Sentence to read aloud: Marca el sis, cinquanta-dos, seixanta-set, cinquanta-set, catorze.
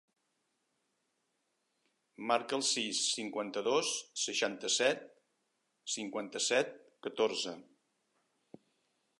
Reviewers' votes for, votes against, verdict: 3, 0, accepted